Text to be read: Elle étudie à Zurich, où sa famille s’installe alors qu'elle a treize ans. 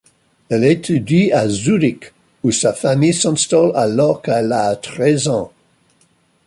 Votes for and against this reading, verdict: 2, 1, accepted